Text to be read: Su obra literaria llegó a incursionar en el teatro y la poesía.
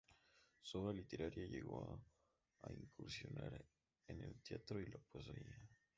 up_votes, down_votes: 0, 2